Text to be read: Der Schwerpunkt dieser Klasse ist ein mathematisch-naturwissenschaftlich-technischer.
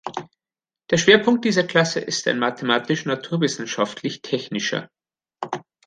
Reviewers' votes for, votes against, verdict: 1, 2, rejected